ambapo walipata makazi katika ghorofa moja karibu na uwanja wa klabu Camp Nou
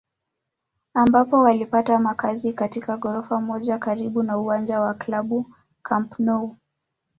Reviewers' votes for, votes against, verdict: 0, 2, rejected